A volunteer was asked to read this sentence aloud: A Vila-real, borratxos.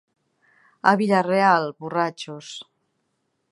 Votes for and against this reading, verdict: 1, 2, rejected